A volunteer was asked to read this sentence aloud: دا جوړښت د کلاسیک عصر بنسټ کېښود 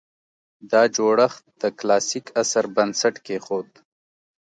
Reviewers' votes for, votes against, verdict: 2, 0, accepted